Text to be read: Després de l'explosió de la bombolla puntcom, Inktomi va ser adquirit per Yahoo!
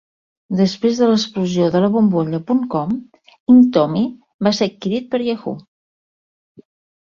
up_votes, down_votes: 2, 0